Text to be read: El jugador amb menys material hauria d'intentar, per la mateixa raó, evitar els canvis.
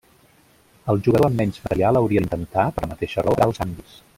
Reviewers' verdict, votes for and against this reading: rejected, 0, 2